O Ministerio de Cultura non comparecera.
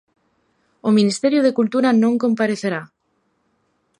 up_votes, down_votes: 0, 3